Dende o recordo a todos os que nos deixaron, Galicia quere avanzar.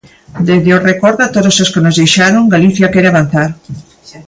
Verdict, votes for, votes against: accepted, 2, 0